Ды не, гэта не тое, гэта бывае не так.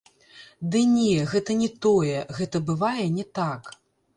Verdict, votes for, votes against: rejected, 0, 3